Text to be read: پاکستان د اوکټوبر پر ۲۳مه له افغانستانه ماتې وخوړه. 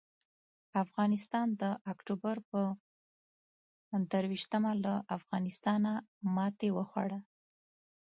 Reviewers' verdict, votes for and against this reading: rejected, 0, 2